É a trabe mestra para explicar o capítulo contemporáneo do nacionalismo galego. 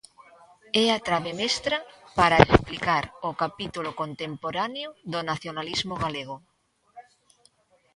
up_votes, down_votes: 2, 1